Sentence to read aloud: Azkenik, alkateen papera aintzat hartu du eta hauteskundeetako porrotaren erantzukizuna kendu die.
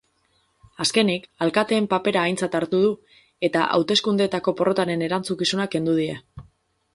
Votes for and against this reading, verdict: 4, 2, accepted